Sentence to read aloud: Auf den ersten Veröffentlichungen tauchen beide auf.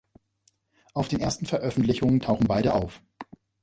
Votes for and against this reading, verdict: 2, 0, accepted